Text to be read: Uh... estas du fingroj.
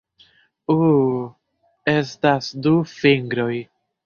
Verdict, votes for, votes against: accepted, 2, 0